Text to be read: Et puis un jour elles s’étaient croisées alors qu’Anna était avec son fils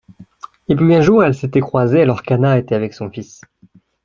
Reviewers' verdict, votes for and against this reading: accepted, 2, 0